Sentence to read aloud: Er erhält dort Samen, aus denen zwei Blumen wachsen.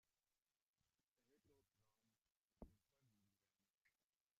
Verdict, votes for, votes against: rejected, 0, 2